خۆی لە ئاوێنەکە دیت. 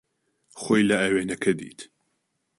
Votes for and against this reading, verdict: 2, 0, accepted